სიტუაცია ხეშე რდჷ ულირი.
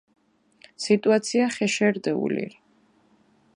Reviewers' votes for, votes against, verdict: 2, 0, accepted